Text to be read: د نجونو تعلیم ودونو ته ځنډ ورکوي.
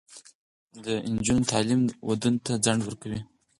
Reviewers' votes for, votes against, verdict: 4, 0, accepted